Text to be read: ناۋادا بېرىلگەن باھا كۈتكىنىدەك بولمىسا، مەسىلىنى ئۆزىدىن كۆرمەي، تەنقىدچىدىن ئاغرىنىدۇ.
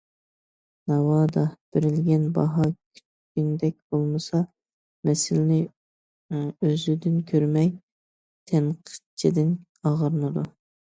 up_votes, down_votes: 2, 0